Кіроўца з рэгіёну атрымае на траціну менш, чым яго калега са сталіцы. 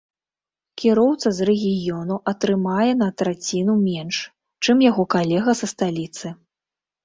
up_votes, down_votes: 2, 0